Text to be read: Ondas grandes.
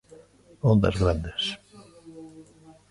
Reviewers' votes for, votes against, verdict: 3, 0, accepted